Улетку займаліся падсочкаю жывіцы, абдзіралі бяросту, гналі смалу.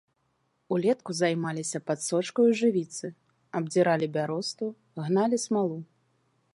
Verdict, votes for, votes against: accepted, 2, 0